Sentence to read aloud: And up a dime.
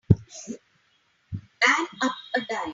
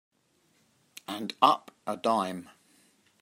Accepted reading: second